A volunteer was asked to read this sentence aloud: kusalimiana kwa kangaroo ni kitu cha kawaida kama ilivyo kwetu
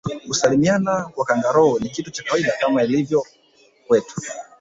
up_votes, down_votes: 2, 0